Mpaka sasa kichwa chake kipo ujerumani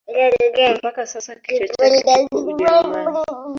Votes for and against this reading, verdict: 0, 3, rejected